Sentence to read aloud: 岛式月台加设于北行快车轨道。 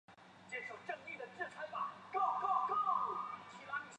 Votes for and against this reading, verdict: 0, 3, rejected